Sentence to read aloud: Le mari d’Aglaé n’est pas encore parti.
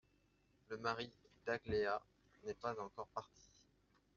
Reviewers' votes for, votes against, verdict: 0, 2, rejected